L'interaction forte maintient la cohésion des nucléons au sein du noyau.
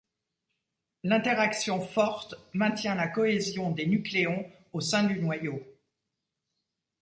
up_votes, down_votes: 2, 0